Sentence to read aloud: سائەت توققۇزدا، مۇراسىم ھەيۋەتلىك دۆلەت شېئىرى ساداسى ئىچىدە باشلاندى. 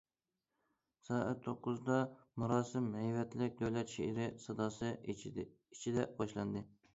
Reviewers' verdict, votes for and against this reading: rejected, 0, 2